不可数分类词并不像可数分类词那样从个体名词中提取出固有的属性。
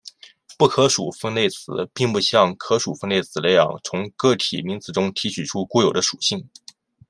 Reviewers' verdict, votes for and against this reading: accepted, 2, 0